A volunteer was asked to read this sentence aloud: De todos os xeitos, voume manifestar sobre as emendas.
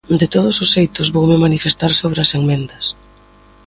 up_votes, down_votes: 1, 2